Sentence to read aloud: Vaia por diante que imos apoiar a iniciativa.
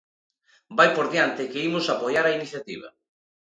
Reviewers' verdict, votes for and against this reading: accepted, 2, 1